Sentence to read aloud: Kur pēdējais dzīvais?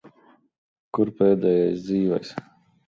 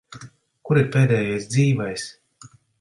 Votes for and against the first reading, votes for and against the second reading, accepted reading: 2, 0, 0, 2, first